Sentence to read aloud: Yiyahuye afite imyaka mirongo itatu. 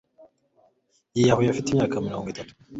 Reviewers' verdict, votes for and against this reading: accepted, 2, 1